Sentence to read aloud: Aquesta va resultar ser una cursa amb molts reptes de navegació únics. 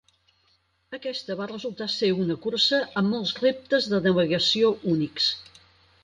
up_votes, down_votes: 0, 4